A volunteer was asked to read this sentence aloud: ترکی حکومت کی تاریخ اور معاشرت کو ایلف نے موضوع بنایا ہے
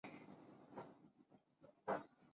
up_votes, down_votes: 0, 5